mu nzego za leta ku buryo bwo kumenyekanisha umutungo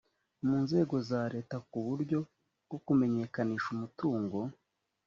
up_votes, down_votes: 3, 0